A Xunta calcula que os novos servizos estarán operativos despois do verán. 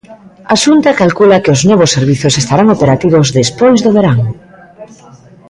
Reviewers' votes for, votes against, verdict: 2, 1, accepted